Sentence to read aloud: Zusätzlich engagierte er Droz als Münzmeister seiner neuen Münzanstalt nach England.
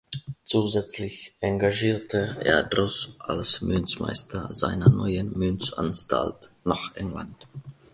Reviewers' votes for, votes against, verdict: 1, 2, rejected